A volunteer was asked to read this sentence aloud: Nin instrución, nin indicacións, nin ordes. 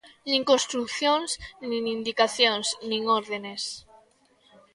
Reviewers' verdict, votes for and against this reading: rejected, 0, 2